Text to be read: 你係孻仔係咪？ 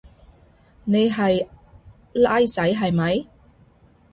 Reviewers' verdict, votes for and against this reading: accepted, 2, 0